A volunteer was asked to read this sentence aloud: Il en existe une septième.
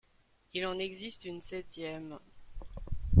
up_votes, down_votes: 0, 2